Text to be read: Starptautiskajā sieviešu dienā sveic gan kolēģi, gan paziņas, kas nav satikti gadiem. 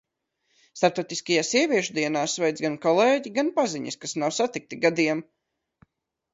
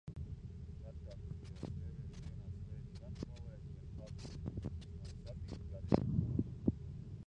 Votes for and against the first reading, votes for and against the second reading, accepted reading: 2, 0, 0, 2, first